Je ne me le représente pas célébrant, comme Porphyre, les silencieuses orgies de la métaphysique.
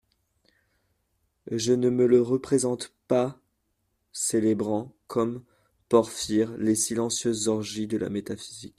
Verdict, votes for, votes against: rejected, 1, 2